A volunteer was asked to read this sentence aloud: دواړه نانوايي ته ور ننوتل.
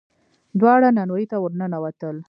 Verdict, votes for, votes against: rejected, 1, 2